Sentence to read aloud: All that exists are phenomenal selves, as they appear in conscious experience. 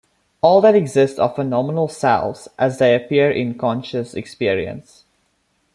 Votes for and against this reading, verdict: 2, 0, accepted